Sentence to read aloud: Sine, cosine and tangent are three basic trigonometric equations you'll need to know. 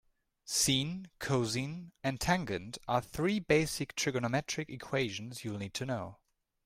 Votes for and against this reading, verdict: 0, 2, rejected